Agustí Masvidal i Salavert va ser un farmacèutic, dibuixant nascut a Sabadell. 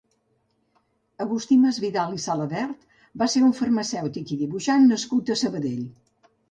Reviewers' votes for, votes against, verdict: 0, 2, rejected